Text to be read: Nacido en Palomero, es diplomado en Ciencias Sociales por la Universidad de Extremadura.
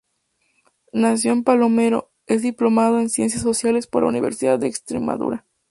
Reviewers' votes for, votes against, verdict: 0, 2, rejected